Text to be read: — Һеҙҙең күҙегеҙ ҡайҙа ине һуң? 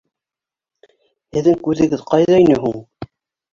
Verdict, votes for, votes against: rejected, 0, 2